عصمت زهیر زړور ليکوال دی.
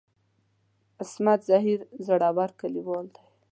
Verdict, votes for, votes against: rejected, 2, 3